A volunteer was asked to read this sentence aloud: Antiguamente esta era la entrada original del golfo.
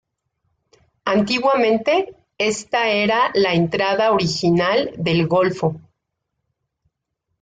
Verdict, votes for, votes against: accepted, 2, 0